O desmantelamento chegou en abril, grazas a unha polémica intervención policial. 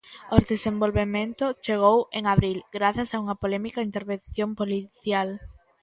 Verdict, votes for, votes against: rejected, 0, 2